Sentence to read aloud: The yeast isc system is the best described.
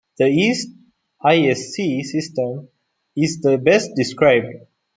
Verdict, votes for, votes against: accepted, 2, 0